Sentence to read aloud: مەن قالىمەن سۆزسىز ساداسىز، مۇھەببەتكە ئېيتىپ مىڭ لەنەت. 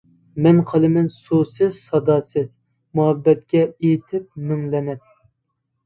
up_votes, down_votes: 0, 2